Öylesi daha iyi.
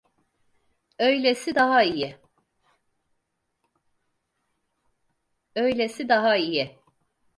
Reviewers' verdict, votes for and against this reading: rejected, 0, 4